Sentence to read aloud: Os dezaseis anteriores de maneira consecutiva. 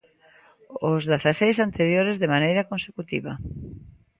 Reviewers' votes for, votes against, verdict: 1, 2, rejected